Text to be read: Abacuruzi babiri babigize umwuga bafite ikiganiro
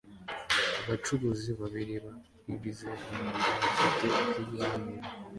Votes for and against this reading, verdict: 2, 0, accepted